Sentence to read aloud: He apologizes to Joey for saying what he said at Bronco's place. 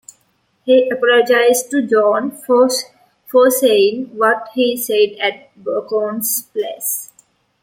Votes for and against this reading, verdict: 1, 2, rejected